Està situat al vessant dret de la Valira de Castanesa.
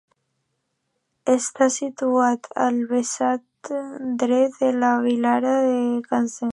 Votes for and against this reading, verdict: 0, 2, rejected